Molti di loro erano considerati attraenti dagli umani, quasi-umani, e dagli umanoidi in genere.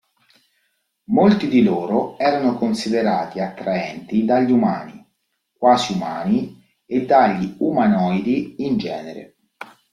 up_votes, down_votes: 2, 0